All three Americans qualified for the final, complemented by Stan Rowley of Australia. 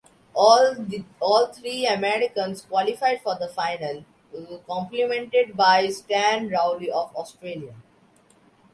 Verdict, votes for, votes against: rejected, 0, 2